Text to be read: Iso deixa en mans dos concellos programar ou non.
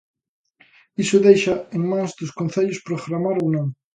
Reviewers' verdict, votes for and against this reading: accepted, 2, 0